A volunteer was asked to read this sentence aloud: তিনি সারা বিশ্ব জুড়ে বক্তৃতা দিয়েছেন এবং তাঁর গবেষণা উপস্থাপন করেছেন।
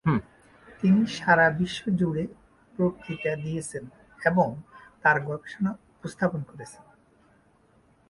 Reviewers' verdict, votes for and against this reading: rejected, 1, 2